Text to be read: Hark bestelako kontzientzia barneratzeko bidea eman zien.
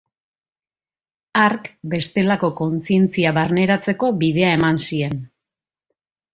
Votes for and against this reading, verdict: 2, 0, accepted